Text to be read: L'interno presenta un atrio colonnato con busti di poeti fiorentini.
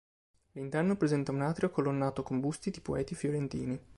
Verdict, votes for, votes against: accepted, 2, 0